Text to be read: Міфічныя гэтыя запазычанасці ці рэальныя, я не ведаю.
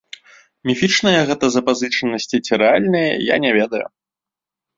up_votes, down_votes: 0, 2